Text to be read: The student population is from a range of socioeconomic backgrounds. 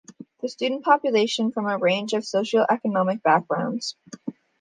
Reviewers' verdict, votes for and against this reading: accepted, 2, 1